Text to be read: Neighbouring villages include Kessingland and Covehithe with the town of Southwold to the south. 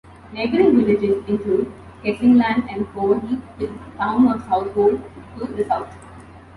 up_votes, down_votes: 2, 1